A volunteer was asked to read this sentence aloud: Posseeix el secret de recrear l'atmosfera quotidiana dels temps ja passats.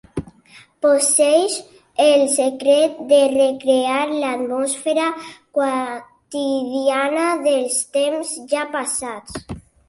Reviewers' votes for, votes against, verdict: 0, 2, rejected